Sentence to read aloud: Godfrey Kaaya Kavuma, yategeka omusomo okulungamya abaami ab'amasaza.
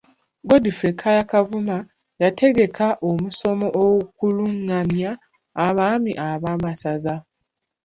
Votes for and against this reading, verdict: 1, 2, rejected